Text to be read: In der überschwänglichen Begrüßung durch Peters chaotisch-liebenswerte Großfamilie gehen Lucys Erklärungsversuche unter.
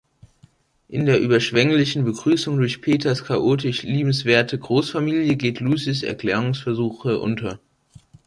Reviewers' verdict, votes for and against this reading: rejected, 1, 2